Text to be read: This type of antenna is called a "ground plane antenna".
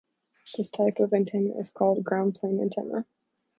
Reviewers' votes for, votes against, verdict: 0, 2, rejected